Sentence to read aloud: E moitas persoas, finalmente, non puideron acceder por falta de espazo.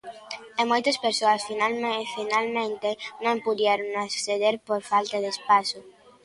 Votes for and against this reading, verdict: 0, 2, rejected